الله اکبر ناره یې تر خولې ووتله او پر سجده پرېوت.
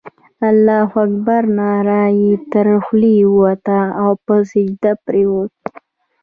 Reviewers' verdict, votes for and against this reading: accepted, 2, 0